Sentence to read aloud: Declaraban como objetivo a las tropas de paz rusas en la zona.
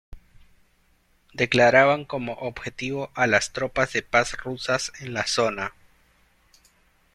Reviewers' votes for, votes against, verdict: 2, 0, accepted